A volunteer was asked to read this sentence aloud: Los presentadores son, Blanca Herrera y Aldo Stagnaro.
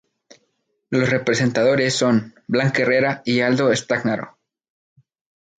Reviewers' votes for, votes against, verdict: 0, 4, rejected